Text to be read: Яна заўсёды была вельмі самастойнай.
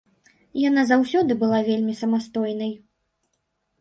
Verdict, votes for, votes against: accepted, 3, 0